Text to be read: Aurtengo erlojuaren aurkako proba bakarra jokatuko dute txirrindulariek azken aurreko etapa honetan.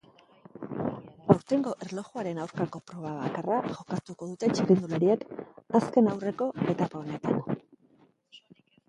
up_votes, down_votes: 3, 1